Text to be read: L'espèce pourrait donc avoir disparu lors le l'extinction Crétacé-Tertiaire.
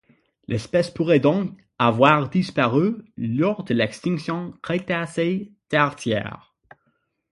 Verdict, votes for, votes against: rejected, 3, 6